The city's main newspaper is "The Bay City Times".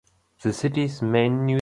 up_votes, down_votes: 0, 2